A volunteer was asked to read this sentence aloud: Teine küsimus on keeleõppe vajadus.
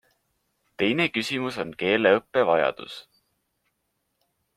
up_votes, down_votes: 3, 0